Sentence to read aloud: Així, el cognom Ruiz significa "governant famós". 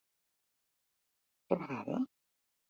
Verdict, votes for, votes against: rejected, 0, 2